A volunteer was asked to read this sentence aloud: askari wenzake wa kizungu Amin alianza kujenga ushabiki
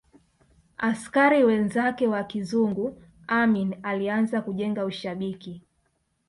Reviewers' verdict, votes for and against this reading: accepted, 2, 0